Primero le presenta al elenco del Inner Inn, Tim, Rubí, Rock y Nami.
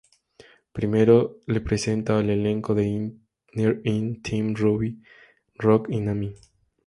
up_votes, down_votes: 2, 0